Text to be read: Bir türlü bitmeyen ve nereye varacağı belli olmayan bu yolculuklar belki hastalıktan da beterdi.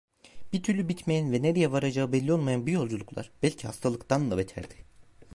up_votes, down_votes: 1, 2